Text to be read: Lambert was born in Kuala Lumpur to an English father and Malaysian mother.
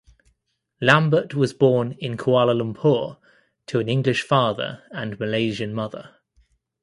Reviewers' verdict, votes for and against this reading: accepted, 2, 0